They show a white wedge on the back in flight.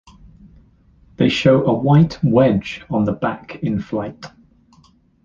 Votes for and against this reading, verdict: 2, 0, accepted